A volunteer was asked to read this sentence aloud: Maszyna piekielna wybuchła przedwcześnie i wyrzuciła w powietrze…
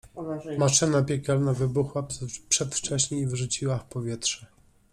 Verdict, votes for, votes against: rejected, 0, 2